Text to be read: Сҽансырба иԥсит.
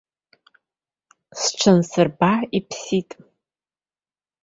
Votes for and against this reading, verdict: 2, 0, accepted